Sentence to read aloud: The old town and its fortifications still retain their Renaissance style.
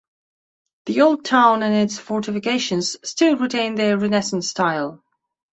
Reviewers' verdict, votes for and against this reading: rejected, 0, 2